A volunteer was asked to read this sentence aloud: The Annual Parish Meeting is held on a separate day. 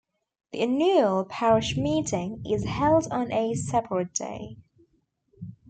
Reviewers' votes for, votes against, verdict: 0, 2, rejected